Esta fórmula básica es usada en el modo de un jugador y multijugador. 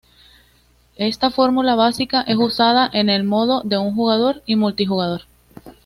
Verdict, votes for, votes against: accepted, 2, 0